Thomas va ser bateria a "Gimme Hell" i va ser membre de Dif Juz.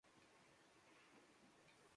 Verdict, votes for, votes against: rejected, 0, 2